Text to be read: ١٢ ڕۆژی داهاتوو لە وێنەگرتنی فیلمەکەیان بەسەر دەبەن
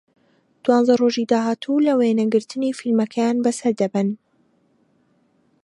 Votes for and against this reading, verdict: 0, 2, rejected